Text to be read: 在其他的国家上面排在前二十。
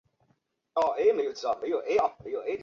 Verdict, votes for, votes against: rejected, 0, 2